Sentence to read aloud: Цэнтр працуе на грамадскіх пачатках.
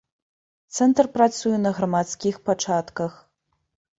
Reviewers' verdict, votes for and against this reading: rejected, 2, 3